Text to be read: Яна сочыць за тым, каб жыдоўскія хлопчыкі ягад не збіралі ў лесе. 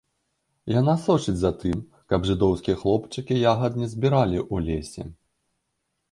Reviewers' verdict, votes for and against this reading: rejected, 0, 2